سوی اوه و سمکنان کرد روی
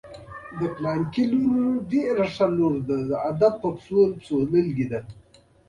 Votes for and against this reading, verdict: 1, 2, rejected